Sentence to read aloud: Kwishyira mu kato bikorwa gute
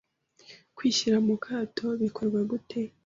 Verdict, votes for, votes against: accepted, 2, 0